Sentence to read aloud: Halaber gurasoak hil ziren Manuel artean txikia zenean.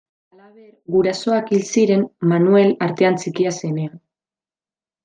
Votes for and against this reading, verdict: 1, 2, rejected